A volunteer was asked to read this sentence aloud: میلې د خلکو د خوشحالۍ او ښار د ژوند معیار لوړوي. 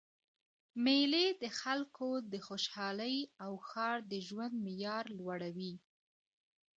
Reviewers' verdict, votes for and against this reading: rejected, 1, 2